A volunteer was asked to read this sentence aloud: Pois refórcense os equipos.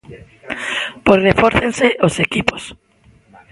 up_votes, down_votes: 1, 2